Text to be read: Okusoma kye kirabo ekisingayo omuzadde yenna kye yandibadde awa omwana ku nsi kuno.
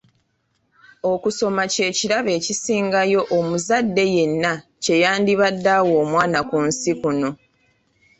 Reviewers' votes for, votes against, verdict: 2, 1, accepted